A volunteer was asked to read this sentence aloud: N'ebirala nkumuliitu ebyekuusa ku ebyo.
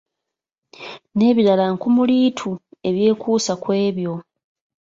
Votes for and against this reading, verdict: 2, 0, accepted